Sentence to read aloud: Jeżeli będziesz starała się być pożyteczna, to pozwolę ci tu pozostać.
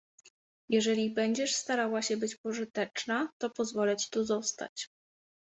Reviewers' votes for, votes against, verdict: 1, 2, rejected